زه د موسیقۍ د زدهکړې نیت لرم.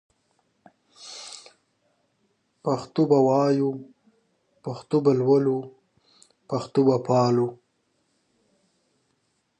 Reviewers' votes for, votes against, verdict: 1, 2, rejected